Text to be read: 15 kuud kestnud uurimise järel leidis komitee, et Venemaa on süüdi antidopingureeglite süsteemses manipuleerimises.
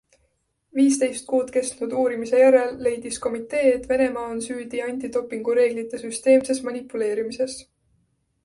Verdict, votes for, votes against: rejected, 0, 2